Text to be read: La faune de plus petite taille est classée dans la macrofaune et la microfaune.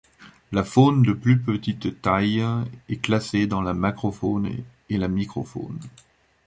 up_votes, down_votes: 2, 0